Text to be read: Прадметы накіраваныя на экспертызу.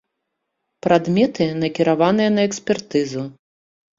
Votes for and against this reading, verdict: 2, 0, accepted